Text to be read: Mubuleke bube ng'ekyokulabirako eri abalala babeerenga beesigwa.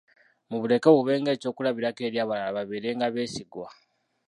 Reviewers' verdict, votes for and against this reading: rejected, 0, 2